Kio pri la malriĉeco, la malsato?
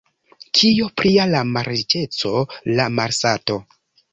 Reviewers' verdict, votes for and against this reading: rejected, 0, 2